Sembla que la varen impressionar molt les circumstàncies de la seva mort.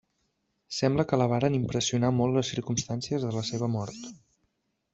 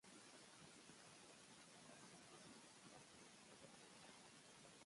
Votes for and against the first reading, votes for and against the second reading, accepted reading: 2, 0, 0, 2, first